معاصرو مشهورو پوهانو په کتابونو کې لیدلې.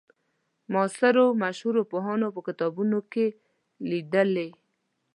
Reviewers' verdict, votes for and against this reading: accepted, 2, 0